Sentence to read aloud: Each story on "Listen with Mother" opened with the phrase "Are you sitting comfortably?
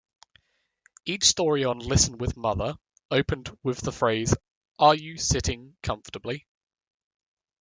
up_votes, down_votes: 2, 0